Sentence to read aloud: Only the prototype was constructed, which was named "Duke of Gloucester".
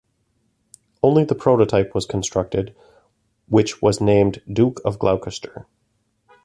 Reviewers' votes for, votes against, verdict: 2, 0, accepted